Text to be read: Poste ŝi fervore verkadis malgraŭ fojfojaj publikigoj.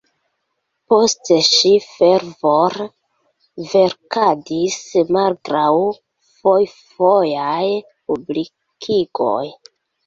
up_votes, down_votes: 0, 2